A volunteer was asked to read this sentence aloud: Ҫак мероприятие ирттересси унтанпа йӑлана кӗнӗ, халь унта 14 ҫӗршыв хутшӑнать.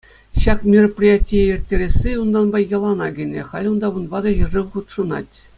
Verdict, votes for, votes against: rejected, 0, 2